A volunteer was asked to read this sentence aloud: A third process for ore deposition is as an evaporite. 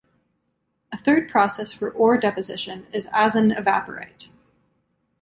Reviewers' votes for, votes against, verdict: 2, 0, accepted